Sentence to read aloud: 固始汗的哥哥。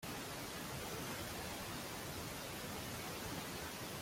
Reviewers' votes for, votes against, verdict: 0, 2, rejected